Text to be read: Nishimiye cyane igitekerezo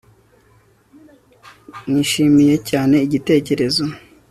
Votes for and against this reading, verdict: 2, 0, accepted